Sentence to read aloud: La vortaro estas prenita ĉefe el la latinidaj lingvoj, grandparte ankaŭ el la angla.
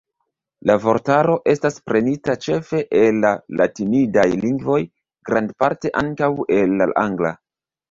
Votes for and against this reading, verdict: 2, 1, accepted